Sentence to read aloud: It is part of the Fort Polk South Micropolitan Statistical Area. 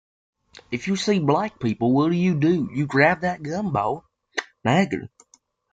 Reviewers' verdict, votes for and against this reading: rejected, 0, 2